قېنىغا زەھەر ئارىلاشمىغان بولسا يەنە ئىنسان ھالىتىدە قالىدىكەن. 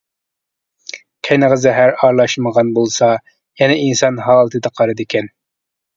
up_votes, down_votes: 2, 0